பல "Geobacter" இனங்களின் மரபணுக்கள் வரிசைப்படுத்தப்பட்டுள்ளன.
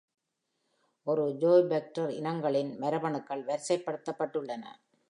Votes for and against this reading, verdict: 1, 2, rejected